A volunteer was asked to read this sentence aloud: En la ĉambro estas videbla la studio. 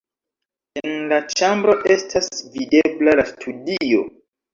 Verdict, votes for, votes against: rejected, 1, 2